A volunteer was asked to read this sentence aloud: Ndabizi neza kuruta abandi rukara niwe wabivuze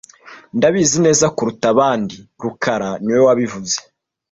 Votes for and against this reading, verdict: 2, 1, accepted